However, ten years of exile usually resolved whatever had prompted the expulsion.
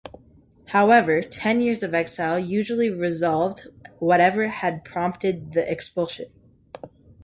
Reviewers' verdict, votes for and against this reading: accepted, 3, 0